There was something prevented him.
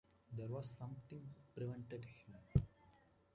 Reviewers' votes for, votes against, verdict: 2, 1, accepted